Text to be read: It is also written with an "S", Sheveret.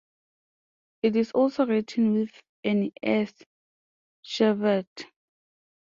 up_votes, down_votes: 2, 0